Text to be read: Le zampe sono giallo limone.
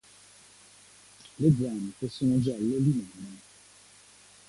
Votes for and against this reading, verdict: 2, 0, accepted